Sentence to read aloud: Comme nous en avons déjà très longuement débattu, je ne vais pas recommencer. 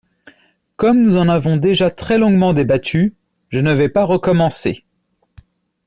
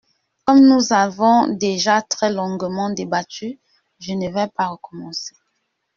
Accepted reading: first